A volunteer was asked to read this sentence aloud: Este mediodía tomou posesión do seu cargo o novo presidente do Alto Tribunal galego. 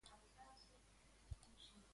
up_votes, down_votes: 0, 2